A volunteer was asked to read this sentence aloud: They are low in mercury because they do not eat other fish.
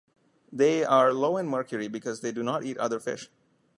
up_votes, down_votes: 2, 0